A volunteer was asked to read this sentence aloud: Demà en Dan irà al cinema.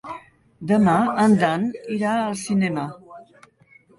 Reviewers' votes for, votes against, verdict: 2, 0, accepted